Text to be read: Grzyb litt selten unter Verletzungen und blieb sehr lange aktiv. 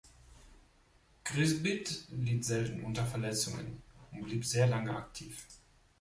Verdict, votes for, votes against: rejected, 0, 2